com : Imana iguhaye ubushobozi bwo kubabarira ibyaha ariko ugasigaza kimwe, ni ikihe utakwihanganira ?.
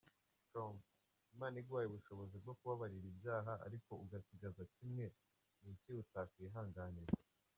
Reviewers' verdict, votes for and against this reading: rejected, 2, 3